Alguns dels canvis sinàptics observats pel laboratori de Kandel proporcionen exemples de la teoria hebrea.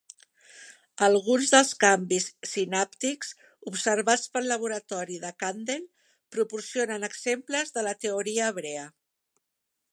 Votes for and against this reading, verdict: 2, 0, accepted